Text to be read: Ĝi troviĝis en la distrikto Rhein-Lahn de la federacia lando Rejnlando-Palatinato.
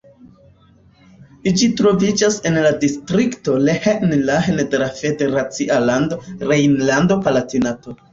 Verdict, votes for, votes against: rejected, 0, 2